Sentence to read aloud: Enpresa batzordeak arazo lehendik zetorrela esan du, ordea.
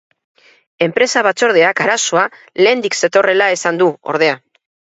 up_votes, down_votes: 2, 2